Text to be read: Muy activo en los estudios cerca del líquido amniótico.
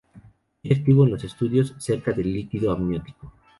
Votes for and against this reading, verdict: 2, 0, accepted